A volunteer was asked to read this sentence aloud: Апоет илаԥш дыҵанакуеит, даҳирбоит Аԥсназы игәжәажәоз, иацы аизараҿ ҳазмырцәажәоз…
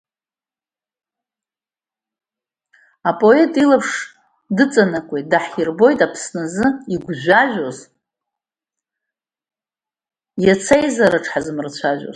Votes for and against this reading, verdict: 0, 2, rejected